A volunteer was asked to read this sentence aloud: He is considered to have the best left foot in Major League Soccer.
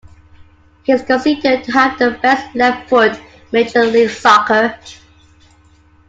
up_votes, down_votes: 1, 2